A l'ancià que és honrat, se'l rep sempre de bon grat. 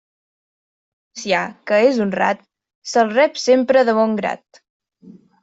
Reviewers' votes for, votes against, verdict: 0, 2, rejected